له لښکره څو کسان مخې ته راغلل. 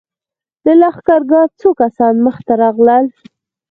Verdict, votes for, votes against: rejected, 2, 4